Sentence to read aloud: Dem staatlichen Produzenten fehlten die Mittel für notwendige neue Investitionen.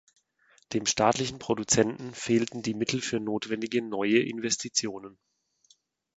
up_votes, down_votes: 2, 0